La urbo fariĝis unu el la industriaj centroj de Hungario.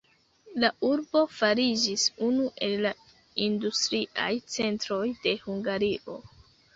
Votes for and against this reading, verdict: 1, 2, rejected